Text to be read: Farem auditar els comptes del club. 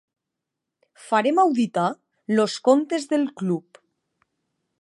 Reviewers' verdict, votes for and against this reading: rejected, 1, 3